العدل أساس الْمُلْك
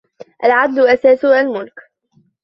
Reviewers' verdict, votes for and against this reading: accepted, 2, 1